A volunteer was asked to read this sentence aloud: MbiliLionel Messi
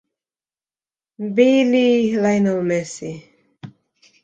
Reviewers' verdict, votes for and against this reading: accepted, 2, 0